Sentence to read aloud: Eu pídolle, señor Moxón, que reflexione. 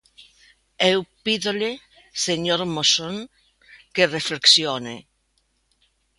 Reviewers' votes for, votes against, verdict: 0, 2, rejected